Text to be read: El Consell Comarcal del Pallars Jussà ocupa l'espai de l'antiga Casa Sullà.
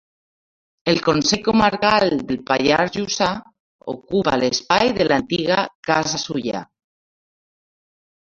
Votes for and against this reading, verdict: 1, 2, rejected